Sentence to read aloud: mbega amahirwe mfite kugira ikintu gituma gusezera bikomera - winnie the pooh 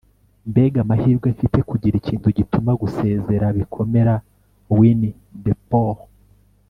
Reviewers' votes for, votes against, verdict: 2, 0, accepted